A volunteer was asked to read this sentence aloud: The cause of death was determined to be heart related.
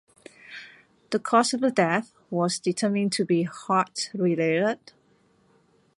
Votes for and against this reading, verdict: 0, 2, rejected